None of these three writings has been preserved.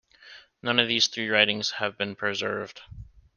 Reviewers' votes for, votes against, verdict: 2, 1, accepted